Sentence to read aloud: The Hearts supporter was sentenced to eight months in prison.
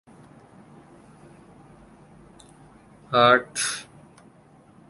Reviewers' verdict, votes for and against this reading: rejected, 0, 2